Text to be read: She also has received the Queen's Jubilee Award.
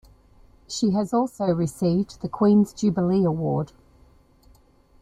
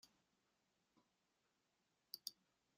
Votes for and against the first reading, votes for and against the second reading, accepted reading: 2, 1, 0, 2, first